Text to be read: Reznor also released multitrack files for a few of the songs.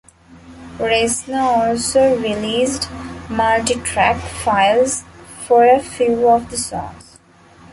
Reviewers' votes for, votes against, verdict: 1, 2, rejected